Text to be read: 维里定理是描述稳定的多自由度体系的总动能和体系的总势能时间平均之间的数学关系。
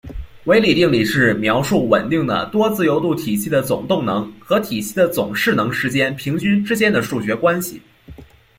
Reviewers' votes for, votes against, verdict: 0, 2, rejected